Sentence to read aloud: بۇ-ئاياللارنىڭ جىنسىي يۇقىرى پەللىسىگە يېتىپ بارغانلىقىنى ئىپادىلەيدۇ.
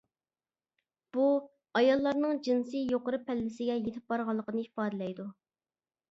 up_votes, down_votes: 2, 0